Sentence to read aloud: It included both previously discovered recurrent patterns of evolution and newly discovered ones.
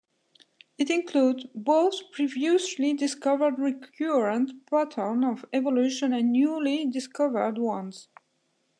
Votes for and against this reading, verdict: 0, 2, rejected